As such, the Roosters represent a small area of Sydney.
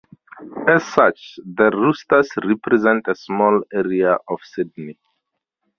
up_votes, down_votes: 4, 0